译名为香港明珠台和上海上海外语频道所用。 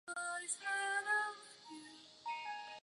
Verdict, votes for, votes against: rejected, 1, 2